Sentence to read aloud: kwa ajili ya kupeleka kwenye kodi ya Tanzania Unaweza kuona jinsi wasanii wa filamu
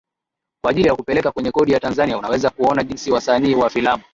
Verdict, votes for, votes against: accepted, 2, 1